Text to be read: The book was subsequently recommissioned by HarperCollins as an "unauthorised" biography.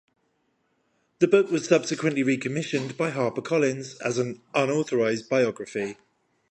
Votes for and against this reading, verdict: 5, 0, accepted